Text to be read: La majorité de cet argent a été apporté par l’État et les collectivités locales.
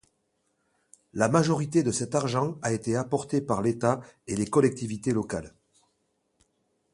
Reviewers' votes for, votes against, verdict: 2, 0, accepted